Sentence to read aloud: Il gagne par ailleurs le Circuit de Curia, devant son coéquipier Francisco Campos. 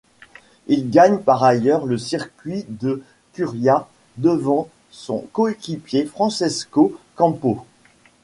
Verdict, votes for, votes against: rejected, 0, 2